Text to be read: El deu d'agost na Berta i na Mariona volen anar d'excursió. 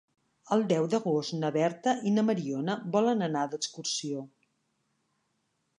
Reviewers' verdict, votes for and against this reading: accepted, 2, 0